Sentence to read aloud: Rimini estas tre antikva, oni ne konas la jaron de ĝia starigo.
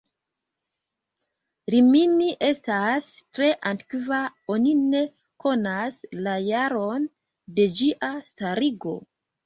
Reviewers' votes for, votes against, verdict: 2, 1, accepted